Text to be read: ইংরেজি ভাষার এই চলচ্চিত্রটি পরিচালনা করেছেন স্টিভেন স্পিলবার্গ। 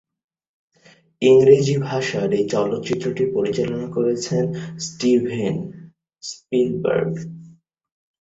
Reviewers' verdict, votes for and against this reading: rejected, 2, 2